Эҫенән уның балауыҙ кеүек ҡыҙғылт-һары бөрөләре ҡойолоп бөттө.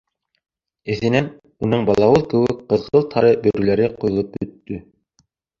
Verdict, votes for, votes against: rejected, 0, 2